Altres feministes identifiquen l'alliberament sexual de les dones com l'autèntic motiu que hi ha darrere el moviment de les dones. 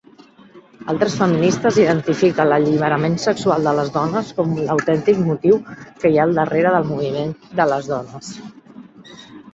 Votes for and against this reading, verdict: 1, 3, rejected